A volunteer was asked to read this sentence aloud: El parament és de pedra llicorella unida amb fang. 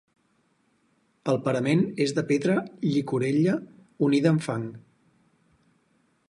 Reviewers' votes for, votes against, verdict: 4, 0, accepted